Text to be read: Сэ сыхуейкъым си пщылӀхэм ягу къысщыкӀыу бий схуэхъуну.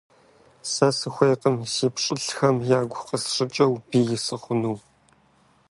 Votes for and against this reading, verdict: 1, 2, rejected